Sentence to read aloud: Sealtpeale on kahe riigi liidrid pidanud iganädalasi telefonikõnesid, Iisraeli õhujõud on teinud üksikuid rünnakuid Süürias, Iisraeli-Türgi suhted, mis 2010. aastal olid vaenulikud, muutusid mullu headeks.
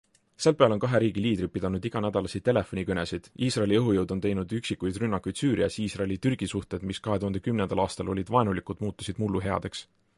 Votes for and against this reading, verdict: 0, 2, rejected